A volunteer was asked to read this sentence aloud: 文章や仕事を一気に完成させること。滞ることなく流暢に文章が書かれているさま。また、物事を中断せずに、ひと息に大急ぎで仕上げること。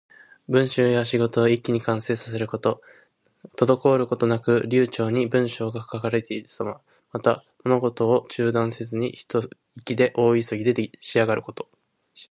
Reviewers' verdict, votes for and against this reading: rejected, 1, 2